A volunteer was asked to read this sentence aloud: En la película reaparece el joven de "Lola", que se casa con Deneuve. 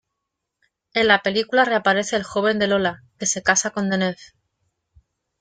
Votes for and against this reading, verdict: 2, 1, accepted